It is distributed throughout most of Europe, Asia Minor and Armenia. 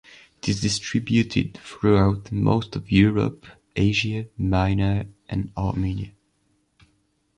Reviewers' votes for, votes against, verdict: 0, 2, rejected